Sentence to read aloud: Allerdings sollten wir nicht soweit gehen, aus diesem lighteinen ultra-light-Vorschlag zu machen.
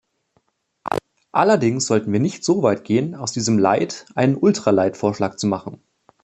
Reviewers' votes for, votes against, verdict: 2, 0, accepted